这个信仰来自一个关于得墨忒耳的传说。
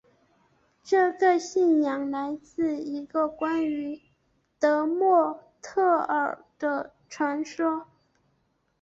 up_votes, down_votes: 2, 0